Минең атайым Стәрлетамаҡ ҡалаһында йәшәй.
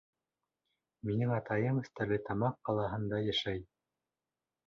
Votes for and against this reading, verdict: 3, 0, accepted